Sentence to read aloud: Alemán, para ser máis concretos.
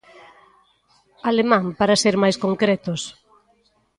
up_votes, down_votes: 2, 0